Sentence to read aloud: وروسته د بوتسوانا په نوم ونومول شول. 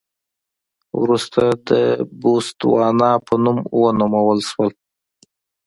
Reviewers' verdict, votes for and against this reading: accepted, 3, 1